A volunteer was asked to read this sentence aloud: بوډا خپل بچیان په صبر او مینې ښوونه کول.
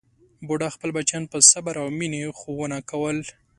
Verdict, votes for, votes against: accepted, 2, 0